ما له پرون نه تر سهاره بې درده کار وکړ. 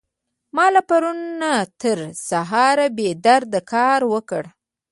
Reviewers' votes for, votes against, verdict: 2, 0, accepted